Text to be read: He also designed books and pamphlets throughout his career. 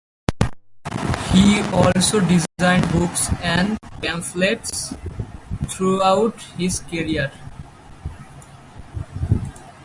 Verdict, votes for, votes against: accepted, 4, 0